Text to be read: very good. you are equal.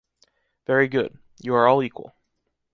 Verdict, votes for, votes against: rejected, 0, 2